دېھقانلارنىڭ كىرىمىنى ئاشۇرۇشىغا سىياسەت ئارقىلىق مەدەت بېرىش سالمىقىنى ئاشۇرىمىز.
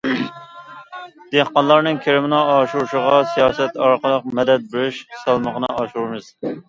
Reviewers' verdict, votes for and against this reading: rejected, 0, 2